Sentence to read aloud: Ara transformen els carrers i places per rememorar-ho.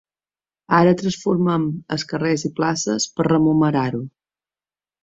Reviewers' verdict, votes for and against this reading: rejected, 1, 2